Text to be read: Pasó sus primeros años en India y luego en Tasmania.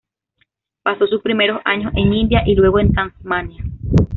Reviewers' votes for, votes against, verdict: 2, 0, accepted